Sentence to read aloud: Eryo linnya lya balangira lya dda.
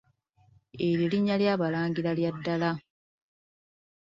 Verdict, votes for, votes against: rejected, 0, 2